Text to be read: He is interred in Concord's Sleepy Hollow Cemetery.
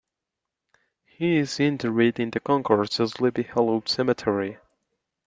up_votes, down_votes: 1, 2